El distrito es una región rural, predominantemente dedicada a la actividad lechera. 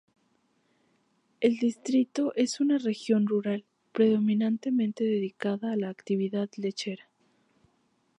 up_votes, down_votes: 2, 0